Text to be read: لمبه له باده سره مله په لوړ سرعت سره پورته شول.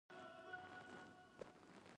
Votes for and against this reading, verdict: 2, 1, accepted